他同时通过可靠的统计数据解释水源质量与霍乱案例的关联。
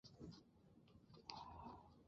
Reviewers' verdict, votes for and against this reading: rejected, 0, 5